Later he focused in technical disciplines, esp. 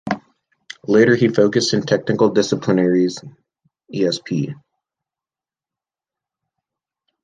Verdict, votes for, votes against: accepted, 2, 1